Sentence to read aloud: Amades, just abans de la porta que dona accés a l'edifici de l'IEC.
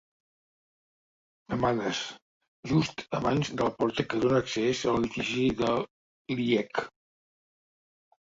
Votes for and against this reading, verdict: 2, 0, accepted